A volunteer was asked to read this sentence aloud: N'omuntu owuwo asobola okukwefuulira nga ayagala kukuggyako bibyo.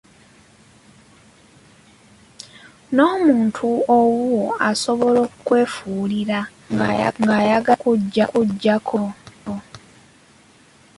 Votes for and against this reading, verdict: 0, 2, rejected